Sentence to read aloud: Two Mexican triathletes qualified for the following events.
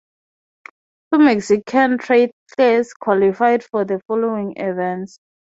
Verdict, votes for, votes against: rejected, 0, 6